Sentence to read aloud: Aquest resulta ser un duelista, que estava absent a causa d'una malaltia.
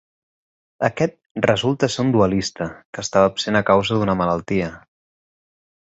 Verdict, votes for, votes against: accepted, 6, 0